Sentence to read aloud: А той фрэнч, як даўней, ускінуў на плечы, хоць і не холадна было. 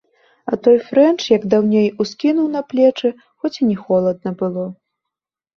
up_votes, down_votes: 2, 0